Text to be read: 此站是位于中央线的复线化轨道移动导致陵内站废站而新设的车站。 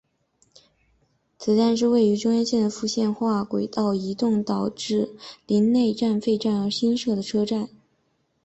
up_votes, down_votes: 2, 1